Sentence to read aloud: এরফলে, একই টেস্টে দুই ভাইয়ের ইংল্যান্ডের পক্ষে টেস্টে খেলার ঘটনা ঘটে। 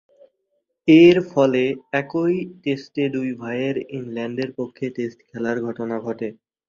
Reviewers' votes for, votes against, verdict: 0, 2, rejected